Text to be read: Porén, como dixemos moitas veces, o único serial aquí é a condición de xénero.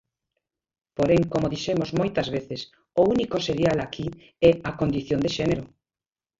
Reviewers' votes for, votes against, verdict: 0, 2, rejected